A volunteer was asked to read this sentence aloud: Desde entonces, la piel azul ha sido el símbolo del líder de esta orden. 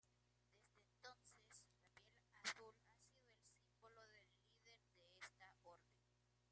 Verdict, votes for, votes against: rejected, 0, 2